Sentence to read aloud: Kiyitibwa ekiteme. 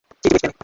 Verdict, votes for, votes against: rejected, 0, 2